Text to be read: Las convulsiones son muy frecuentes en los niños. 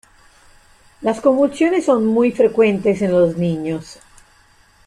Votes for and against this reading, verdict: 2, 0, accepted